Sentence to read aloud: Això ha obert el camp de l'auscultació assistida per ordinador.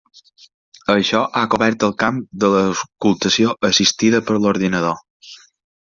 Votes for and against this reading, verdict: 0, 2, rejected